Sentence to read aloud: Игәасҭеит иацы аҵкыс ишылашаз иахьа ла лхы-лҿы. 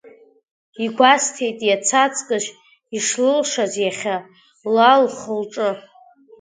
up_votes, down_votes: 1, 2